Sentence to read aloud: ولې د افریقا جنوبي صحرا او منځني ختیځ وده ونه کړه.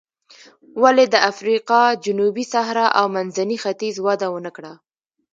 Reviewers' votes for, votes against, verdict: 0, 2, rejected